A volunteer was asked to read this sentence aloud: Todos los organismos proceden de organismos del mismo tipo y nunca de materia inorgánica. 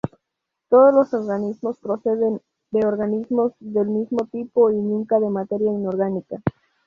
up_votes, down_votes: 2, 2